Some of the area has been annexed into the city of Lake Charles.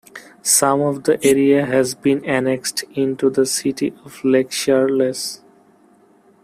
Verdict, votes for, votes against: rejected, 1, 2